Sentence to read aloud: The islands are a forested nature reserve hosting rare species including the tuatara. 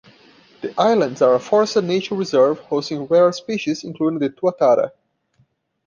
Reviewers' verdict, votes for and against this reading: accepted, 2, 0